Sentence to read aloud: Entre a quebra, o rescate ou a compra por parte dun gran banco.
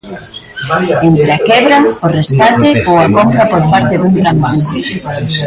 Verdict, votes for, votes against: rejected, 0, 2